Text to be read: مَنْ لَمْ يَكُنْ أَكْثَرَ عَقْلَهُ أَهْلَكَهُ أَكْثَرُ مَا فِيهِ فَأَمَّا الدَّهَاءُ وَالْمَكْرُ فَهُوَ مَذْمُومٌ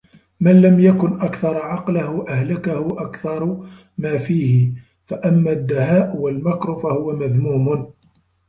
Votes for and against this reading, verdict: 2, 0, accepted